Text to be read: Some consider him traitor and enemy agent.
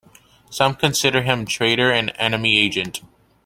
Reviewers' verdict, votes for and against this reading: accepted, 2, 0